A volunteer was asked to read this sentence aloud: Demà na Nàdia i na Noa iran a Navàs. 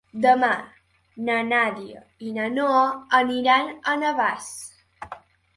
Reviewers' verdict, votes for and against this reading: rejected, 0, 2